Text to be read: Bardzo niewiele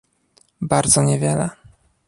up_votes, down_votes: 2, 0